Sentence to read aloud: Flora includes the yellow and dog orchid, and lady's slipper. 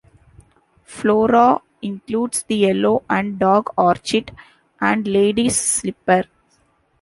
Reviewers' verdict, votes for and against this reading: rejected, 1, 2